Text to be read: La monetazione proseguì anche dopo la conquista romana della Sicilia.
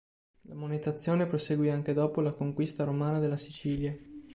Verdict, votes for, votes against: rejected, 1, 2